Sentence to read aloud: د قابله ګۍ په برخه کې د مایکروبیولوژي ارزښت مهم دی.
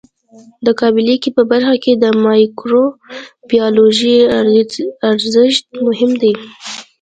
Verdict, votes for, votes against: accepted, 2, 0